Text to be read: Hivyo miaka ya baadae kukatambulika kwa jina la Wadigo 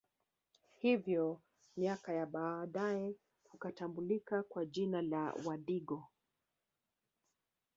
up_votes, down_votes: 0, 2